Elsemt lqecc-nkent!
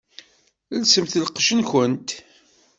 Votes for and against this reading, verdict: 2, 0, accepted